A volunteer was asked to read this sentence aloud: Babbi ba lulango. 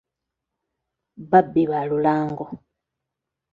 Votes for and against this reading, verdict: 2, 0, accepted